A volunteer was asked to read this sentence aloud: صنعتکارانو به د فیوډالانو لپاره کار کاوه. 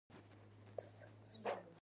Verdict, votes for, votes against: rejected, 1, 2